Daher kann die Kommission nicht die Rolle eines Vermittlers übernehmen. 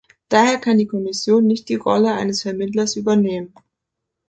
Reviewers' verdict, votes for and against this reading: accepted, 2, 0